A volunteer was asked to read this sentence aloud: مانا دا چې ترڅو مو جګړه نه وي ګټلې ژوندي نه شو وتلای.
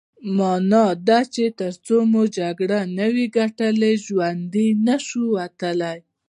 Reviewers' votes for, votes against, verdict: 2, 0, accepted